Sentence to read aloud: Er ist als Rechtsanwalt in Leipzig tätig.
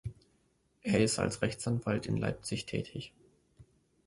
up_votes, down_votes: 2, 0